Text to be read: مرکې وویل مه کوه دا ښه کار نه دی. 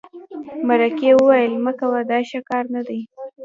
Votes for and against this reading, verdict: 1, 2, rejected